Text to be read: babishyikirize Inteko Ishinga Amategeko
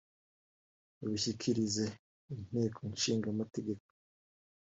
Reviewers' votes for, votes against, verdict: 1, 3, rejected